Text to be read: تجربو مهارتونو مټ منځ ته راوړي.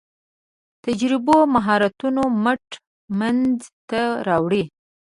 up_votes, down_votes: 2, 0